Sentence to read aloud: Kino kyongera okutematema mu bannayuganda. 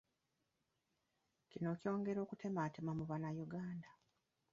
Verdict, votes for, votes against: rejected, 1, 2